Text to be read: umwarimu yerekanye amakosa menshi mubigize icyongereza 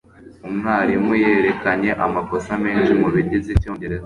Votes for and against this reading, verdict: 2, 0, accepted